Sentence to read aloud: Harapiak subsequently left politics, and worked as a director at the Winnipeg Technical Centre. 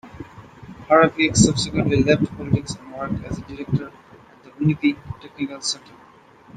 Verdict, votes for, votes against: accepted, 2, 1